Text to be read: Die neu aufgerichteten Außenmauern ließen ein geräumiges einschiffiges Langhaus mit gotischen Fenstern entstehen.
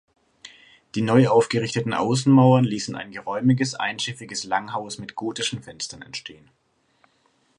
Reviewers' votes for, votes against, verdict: 9, 0, accepted